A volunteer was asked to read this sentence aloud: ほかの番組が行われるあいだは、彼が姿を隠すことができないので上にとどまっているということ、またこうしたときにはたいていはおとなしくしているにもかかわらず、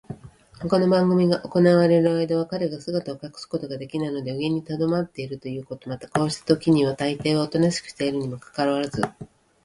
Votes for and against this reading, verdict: 1, 2, rejected